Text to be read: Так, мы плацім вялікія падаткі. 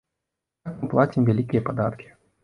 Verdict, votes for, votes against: rejected, 1, 3